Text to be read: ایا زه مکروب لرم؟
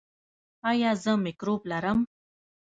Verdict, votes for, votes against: rejected, 1, 2